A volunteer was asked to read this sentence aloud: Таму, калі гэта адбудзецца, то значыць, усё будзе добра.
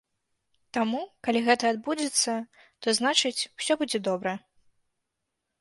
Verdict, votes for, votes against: accepted, 2, 0